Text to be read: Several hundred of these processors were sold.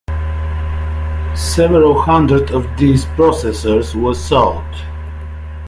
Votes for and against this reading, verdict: 1, 2, rejected